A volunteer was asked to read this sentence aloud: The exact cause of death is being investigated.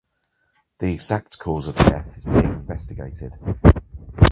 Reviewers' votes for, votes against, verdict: 2, 2, rejected